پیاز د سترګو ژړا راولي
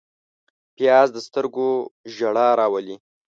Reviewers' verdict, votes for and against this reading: accepted, 2, 0